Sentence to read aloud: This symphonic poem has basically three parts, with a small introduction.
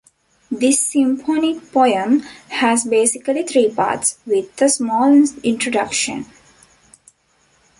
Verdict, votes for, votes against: rejected, 1, 2